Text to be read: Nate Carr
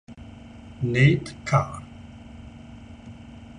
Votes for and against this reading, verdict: 2, 0, accepted